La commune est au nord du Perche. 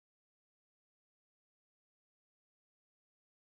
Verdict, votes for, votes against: rejected, 0, 4